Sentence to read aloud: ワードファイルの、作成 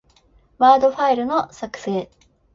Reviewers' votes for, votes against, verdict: 2, 0, accepted